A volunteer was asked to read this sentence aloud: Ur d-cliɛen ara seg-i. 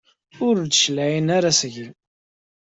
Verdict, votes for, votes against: accepted, 2, 0